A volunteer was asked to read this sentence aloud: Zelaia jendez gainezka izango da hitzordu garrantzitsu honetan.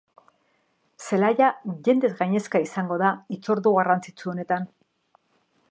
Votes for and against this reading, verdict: 2, 0, accepted